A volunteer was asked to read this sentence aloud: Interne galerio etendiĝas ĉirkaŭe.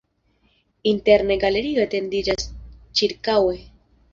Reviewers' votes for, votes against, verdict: 1, 2, rejected